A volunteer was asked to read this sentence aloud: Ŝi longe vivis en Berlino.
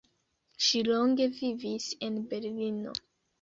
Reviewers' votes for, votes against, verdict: 2, 0, accepted